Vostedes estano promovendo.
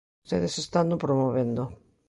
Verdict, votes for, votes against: rejected, 1, 2